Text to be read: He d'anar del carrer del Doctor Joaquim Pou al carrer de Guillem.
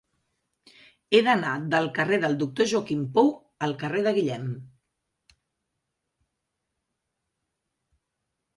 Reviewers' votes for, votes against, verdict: 3, 0, accepted